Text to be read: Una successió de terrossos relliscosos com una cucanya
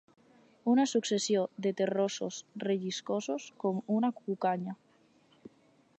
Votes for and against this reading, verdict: 4, 0, accepted